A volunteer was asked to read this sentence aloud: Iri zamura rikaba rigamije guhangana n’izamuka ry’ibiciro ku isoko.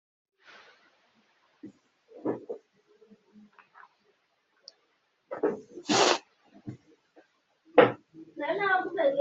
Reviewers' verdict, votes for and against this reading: rejected, 0, 2